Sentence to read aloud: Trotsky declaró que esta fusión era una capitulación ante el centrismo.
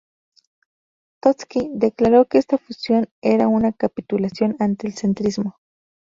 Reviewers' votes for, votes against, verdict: 2, 0, accepted